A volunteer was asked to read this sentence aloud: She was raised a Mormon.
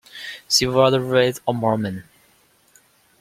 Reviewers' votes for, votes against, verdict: 2, 0, accepted